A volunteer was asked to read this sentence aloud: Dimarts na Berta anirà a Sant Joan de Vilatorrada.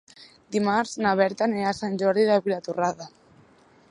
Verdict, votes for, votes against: rejected, 0, 2